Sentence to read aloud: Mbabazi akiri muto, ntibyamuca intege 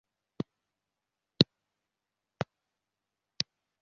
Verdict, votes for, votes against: rejected, 0, 2